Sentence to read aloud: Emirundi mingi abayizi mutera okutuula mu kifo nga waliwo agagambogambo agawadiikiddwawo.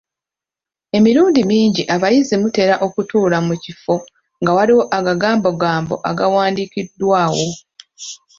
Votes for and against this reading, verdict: 1, 2, rejected